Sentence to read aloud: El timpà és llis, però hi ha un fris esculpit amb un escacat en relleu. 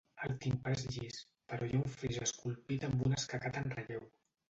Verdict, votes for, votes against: rejected, 1, 2